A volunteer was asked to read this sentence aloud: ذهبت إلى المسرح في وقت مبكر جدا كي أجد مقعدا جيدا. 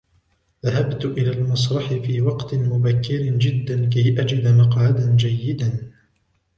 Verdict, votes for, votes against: rejected, 1, 2